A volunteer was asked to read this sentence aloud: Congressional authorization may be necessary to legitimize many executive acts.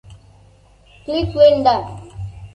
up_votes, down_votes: 0, 2